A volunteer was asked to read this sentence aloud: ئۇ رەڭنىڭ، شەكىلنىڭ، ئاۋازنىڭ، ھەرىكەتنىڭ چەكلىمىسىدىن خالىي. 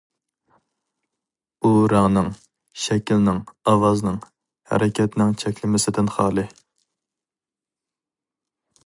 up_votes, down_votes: 2, 0